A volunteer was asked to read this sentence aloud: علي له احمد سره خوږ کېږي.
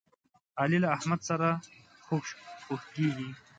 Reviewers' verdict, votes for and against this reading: rejected, 0, 2